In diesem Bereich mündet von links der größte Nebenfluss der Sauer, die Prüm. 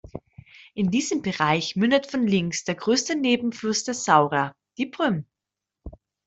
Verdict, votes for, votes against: rejected, 1, 2